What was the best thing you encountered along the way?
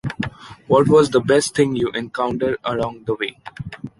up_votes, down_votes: 2, 0